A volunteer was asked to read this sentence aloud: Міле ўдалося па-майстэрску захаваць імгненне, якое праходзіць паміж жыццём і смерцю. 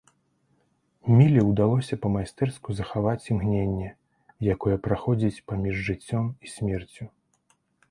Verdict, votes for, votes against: accepted, 2, 0